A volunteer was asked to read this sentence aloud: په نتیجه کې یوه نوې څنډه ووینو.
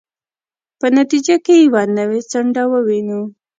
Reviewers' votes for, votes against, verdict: 2, 0, accepted